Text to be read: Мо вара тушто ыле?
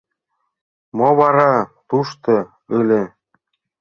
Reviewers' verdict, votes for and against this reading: rejected, 1, 3